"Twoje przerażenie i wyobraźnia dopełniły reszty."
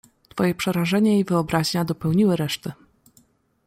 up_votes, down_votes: 2, 0